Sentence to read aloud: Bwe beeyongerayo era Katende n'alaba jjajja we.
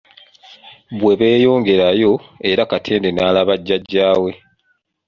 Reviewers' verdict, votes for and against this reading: accepted, 2, 0